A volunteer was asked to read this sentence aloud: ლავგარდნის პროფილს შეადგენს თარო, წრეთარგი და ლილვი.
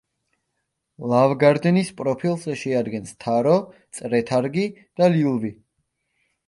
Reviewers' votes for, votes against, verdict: 2, 0, accepted